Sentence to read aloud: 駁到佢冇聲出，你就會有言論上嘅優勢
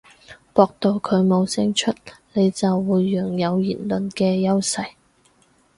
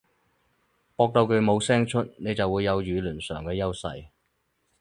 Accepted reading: second